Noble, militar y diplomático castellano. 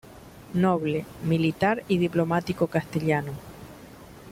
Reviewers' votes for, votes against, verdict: 1, 2, rejected